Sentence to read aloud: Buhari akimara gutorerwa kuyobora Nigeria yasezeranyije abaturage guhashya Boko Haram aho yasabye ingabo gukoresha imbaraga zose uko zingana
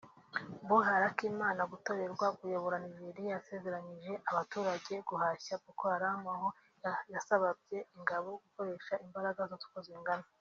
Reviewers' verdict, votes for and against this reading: rejected, 0, 2